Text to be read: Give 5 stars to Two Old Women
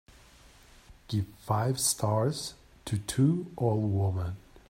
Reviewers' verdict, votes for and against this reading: rejected, 0, 2